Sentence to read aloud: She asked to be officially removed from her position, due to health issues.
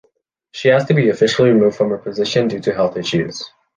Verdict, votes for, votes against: accepted, 2, 0